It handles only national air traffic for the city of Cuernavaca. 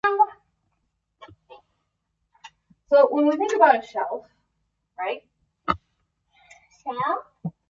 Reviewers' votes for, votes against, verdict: 0, 2, rejected